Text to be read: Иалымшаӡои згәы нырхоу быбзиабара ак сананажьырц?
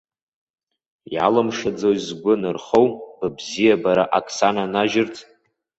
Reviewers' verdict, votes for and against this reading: accepted, 2, 0